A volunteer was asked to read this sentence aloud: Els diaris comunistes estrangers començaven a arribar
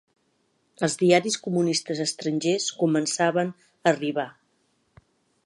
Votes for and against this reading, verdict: 1, 2, rejected